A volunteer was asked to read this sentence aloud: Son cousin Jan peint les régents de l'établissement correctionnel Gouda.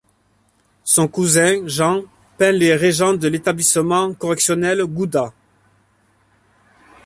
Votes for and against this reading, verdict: 1, 2, rejected